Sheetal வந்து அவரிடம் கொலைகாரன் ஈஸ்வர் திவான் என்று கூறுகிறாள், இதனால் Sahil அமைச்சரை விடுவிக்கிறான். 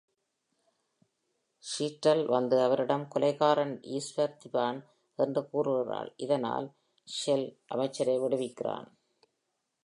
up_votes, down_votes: 1, 2